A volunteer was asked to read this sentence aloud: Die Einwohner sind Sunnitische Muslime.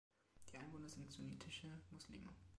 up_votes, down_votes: 2, 1